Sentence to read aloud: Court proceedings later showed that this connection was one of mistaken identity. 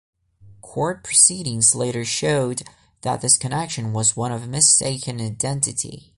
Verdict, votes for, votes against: accepted, 2, 0